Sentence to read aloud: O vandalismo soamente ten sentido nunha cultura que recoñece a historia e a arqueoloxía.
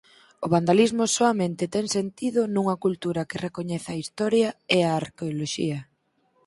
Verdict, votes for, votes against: rejected, 0, 4